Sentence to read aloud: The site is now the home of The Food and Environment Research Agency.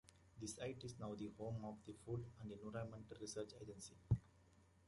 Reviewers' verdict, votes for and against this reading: accepted, 2, 0